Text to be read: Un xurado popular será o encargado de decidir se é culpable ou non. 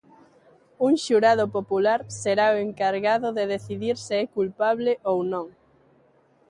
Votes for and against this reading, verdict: 2, 0, accepted